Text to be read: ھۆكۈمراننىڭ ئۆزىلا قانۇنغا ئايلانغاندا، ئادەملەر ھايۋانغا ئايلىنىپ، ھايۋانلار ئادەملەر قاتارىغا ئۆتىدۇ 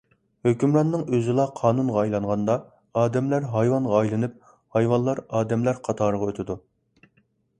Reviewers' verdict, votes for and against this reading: accepted, 2, 0